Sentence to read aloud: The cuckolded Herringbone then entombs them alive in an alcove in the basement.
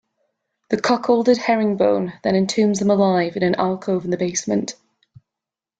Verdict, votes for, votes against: accepted, 2, 0